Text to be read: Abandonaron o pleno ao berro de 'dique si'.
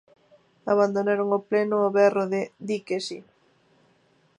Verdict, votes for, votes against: accepted, 2, 0